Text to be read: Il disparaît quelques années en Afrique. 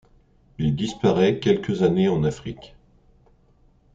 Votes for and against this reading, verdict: 2, 0, accepted